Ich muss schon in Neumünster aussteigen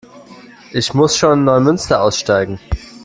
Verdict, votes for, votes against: rejected, 1, 2